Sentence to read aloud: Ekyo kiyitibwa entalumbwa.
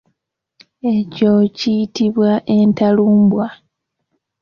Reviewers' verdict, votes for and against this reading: accepted, 2, 0